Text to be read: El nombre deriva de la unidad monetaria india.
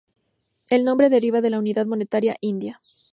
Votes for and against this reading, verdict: 2, 0, accepted